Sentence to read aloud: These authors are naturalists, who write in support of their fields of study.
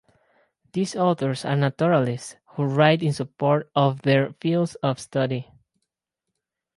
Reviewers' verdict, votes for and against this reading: accepted, 4, 2